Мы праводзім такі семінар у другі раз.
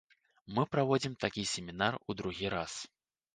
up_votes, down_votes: 2, 0